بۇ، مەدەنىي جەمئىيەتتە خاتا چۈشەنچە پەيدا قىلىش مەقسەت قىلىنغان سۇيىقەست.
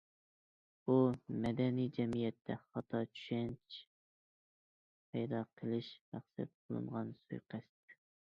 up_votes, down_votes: 0, 2